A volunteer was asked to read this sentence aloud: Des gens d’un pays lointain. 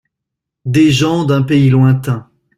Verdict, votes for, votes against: accepted, 2, 0